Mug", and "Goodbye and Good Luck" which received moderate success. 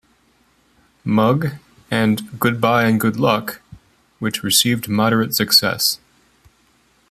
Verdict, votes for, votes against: accepted, 2, 0